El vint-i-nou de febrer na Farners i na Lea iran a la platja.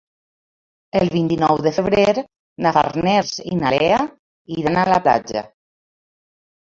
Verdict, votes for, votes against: rejected, 1, 2